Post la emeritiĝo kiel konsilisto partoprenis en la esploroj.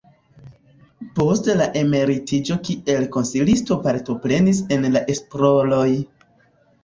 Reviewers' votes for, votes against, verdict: 2, 1, accepted